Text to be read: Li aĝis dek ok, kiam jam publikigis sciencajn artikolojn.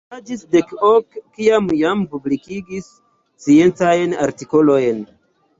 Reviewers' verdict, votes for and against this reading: rejected, 1, 2